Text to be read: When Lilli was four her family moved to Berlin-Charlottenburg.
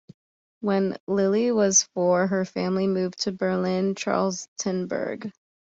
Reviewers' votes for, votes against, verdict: 2, 3, rejected